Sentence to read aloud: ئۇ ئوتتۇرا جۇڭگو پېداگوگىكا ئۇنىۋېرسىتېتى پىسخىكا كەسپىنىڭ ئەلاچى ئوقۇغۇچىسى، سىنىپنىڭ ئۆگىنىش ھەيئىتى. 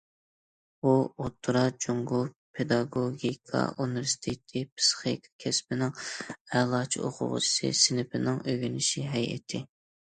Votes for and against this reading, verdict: 0, 2, rejected